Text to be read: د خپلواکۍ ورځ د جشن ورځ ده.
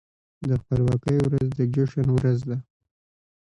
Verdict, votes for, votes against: rejected, 1, 2